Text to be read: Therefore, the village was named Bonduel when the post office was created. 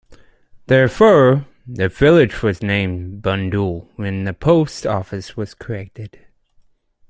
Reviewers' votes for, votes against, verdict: 0, 2, rejected